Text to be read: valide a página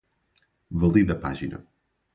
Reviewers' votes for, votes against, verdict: 2, 0, accepted